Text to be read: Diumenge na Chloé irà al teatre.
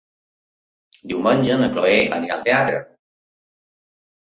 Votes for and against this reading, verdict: 2, 3, rejected